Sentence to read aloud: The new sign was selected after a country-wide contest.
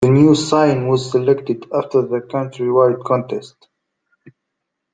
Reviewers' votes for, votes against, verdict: 0, 2, rejected